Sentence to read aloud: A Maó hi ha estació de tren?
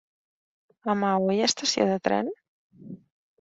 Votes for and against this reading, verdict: 2, 1, accepted